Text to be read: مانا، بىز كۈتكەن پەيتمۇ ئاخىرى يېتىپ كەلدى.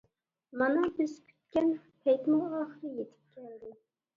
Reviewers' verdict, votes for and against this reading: rejected, 0, 2